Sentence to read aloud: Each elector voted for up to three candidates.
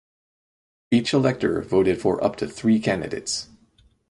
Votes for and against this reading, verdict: 4, 0, accepted